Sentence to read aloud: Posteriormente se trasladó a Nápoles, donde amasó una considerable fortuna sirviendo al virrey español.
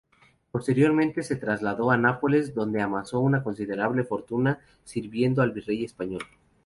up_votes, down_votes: 2, 0